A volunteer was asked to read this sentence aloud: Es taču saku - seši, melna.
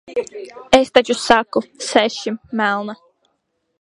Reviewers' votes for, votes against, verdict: 0, 3, rejected